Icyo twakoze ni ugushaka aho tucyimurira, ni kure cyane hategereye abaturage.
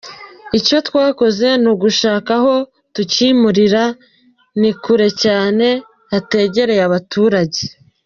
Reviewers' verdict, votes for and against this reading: accepted, 2, 1